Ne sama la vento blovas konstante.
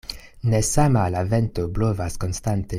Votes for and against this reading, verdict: 2, 0, accepted